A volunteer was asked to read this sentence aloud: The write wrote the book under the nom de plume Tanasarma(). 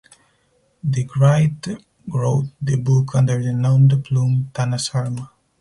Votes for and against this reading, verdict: 2, 4, rejected